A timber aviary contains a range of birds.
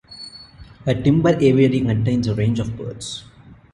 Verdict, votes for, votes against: accepted, 2, 1